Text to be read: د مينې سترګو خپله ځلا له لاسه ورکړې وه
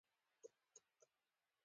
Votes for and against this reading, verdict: 2, 1, accepted